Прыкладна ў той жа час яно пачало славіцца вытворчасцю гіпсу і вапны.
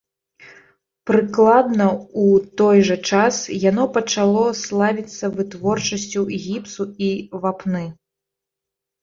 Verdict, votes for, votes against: rejected, 0, 2